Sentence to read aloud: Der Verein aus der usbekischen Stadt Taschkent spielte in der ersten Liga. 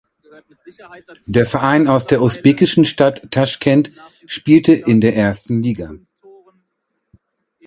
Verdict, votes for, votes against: rejected, 1, 2